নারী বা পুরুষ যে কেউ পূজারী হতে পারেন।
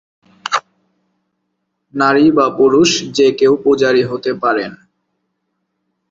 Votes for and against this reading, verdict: 0, 2, rejected